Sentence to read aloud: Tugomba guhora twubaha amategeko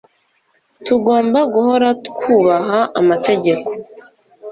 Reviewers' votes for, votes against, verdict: 2, 0, accepted